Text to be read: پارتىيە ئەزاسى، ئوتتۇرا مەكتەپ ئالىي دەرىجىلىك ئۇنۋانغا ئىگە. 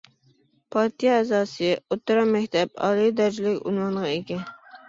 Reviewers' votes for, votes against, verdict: 0, 2, rejected